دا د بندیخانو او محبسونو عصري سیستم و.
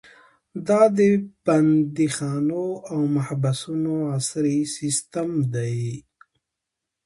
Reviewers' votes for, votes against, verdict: 1, 2, rejected